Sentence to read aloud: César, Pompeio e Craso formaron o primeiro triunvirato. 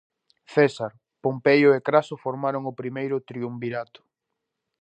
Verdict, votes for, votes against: accepted, 2, 0